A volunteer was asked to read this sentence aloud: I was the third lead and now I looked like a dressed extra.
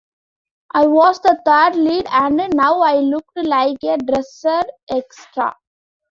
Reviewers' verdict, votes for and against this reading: rejected, 0, 2